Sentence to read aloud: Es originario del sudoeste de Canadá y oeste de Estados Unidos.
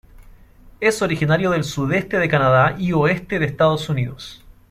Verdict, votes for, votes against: rejected, 1, 2